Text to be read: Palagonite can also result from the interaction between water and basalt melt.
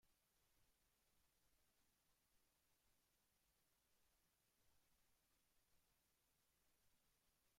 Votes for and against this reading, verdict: 0, 2, rejected